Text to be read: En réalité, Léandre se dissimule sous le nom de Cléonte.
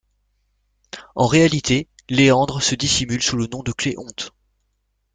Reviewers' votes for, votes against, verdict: 2, 0, accepted